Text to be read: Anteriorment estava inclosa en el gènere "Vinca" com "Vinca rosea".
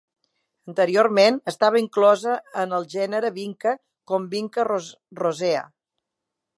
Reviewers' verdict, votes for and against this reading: rejected, 0, 2